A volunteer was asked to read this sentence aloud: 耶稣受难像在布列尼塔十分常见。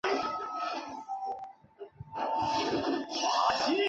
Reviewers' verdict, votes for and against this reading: rejected, 0, 3